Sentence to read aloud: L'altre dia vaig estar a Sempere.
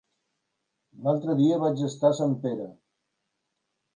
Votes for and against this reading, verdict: 3, 1, accepted